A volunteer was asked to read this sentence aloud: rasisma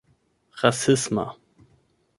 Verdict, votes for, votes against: rejected, 0, 8